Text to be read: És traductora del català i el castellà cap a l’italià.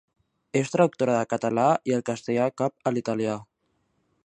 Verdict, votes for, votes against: accepted, 2, 0